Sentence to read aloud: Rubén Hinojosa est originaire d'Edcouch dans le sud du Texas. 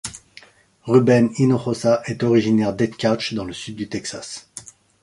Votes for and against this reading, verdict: 2, 0, accepted